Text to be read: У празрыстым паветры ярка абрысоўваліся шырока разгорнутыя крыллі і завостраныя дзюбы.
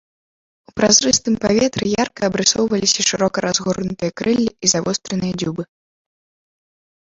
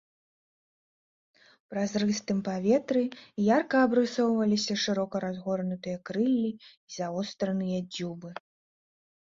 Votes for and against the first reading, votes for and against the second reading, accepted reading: 2, 3, 3, 0, second